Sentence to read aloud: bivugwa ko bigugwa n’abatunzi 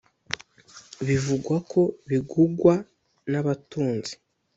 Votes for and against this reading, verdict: 2, 0, accepted